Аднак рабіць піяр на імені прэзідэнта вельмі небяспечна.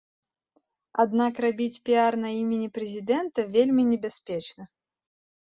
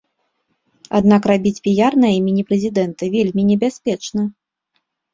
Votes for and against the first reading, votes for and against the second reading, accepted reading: 0, 2, 2, 0, second